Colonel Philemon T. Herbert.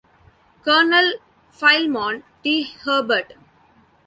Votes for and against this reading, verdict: 0, 2, rejected